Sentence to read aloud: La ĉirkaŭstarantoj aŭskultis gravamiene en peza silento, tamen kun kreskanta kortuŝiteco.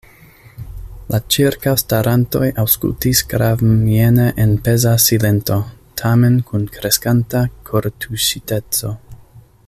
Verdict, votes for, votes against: rejected, 0, 2